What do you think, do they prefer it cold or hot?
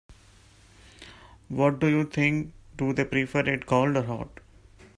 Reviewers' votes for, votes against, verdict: 2, 1, accepted